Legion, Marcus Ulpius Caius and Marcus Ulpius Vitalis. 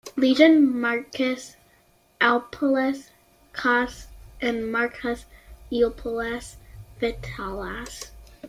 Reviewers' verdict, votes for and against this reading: accepted, 2, 0